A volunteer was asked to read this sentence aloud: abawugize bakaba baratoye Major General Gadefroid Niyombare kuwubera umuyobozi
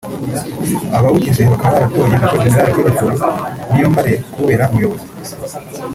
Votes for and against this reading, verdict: 0, 2, rejected